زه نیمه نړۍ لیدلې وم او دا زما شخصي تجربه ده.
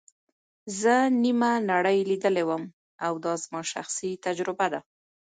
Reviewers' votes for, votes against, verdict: 2, 0, accepted